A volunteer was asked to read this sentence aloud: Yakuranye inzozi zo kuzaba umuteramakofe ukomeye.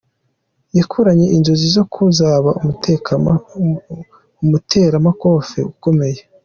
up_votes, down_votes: 0, 2